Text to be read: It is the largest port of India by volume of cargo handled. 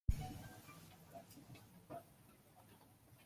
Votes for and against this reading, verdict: 1, 2, rejected